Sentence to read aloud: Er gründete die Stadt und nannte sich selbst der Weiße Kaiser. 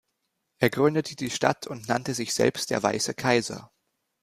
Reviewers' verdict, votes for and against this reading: accepted, 2, 0